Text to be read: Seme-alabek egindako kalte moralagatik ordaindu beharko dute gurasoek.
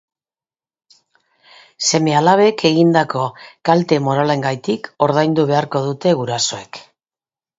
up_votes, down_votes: 1, 2